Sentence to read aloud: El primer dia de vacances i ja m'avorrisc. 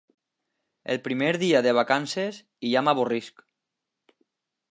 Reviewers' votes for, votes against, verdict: 2, 0, accepted